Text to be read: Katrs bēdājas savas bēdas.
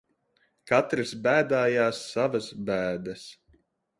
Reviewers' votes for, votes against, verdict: 1, 2, rejected